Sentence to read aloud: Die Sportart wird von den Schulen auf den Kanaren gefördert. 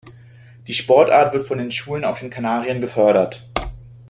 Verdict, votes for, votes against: rejected, 1, 2